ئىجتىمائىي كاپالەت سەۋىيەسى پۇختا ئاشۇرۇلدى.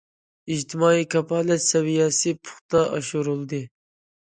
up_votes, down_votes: 2, 0